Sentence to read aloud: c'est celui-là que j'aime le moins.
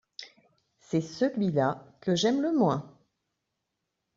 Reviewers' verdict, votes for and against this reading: accepted, 2, 0